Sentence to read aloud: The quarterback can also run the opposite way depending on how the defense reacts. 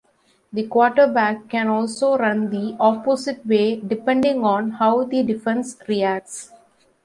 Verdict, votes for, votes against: accepted, 2, 1